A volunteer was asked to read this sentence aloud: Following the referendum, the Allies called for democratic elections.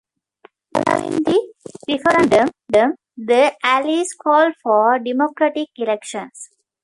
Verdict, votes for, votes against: rejected, 0, 2